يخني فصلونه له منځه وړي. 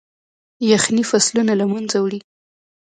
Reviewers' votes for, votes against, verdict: 0, 2, rejected